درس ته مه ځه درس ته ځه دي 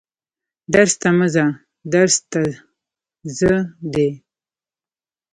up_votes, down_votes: 1, 2